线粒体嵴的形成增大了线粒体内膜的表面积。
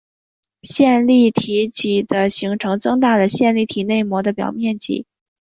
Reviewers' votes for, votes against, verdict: 4, 1, accepted